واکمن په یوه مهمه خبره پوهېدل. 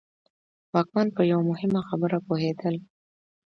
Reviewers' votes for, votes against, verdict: 2, 0, accepted